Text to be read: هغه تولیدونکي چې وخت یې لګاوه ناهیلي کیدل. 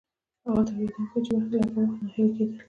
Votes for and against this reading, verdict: 2, 0, accepted